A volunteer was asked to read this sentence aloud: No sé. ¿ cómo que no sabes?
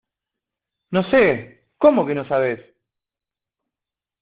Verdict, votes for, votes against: accepted, 2, 1